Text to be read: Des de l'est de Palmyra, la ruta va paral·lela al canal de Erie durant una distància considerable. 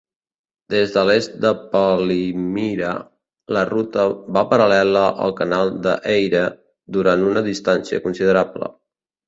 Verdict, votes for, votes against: rejected, 0, 2